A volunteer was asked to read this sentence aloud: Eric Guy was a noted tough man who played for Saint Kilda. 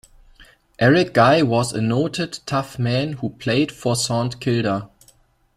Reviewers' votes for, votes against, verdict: 1, 2, rejected